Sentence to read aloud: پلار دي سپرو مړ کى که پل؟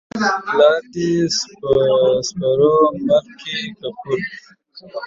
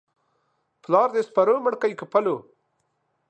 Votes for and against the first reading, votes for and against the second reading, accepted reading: 2, 0, 1, 2, first